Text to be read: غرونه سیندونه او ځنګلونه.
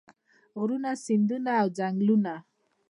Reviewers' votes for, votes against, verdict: 2, 0, accepted